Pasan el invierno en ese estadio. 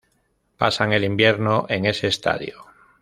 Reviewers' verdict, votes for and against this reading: accepted, 2, 0